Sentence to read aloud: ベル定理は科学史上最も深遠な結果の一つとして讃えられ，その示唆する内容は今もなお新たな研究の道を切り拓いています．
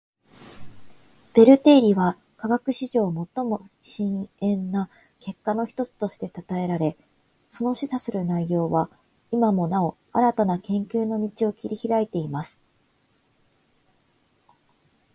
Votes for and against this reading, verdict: 2, 0, accepted